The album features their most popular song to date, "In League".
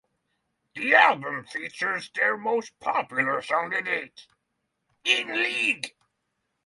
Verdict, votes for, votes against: accepted, 6, 0